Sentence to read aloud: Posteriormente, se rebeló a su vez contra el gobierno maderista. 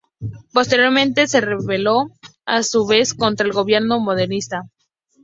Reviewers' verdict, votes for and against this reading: accepted, 2, 0